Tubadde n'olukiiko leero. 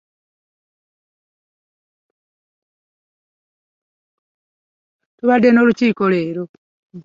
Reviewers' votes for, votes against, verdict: 2, 0, accepted